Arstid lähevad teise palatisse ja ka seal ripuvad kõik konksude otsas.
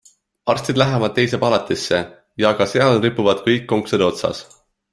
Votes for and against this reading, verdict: 2, 0, accepted